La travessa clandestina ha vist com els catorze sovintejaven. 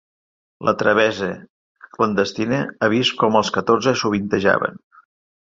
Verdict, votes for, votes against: accepted, 3, 0